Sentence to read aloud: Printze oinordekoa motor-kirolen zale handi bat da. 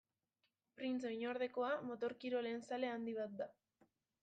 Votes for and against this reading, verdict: 2, 0, accepted